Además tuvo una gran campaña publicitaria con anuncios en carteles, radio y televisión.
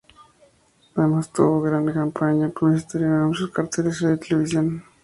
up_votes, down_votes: 0, 2